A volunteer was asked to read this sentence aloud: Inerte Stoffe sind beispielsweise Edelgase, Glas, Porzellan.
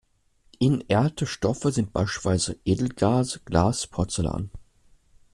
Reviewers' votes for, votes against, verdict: 1, 2, rejected